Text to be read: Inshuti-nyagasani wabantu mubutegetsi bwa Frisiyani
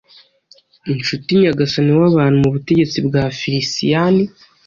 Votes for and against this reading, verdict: 2, 0, accepted